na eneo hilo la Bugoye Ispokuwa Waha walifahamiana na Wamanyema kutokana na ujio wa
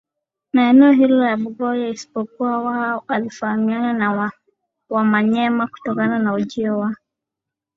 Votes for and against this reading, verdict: 7, 1, accepted